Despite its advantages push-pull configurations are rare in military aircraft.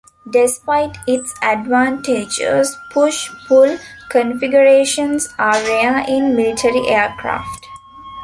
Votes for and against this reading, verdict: 2, 0, accepted